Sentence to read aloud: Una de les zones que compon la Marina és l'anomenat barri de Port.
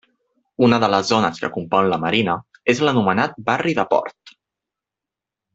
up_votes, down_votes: 3, 0